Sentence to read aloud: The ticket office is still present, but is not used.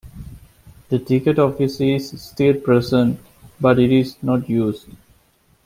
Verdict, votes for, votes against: rejected, 1, 2